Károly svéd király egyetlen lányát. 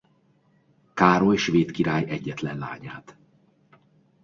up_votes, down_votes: 2, 0